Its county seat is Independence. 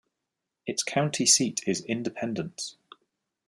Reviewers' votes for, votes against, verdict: 2, 0, accepted